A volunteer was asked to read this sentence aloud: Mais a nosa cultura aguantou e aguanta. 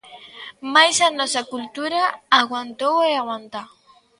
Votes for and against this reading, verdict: 2, 0, accepted